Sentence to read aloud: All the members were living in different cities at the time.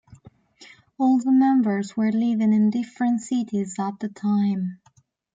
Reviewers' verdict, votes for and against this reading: accepted, 2, 1